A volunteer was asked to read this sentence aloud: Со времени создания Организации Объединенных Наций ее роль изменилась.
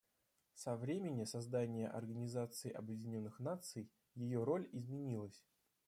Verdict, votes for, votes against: rejected, 0, 2